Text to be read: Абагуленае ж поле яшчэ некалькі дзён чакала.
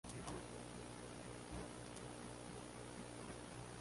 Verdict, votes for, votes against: rejected, 0, 2